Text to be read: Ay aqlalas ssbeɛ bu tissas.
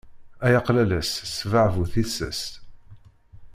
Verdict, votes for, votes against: accepted, 2, 0